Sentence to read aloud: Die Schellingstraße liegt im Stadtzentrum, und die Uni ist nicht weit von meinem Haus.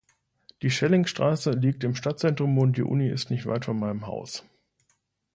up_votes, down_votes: 2, 0